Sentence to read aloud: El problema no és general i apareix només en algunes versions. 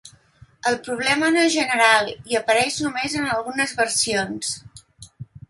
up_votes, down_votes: 3, 0